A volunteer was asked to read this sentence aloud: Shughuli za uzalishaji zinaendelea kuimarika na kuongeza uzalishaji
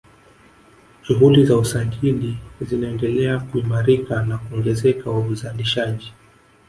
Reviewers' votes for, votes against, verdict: 3, 4, rejected